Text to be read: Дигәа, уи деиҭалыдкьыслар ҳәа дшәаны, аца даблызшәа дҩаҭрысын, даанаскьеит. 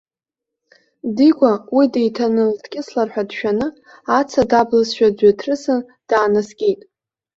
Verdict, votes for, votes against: rejected, 0, 2